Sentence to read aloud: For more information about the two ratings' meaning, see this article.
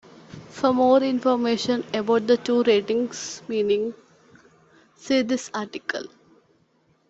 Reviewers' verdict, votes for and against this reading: accepted, 2, 0